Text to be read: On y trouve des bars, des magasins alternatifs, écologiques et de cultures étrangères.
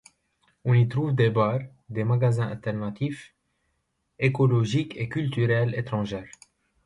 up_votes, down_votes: 0, 2